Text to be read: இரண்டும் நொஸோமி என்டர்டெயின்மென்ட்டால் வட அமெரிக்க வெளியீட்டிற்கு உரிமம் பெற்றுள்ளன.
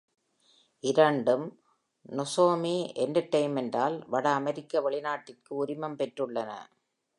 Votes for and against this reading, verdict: 0, 2, rejected